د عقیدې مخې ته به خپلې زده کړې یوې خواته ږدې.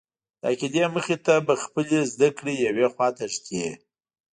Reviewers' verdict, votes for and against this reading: accepted, 2, 0